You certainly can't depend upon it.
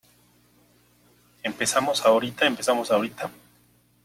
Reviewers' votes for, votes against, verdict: 0, 2, rejected